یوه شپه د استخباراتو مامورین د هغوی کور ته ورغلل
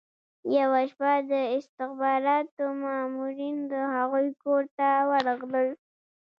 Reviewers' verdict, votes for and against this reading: rejected, 1, 2